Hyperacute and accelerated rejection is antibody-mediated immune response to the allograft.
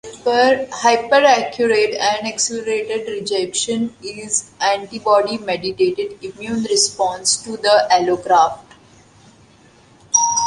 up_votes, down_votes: 0, 2